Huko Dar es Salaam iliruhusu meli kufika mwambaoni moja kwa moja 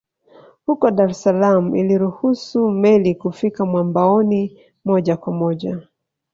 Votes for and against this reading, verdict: 4, 0, accepted